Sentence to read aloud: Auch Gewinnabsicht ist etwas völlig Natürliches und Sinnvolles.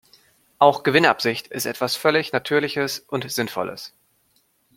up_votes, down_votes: 2, 0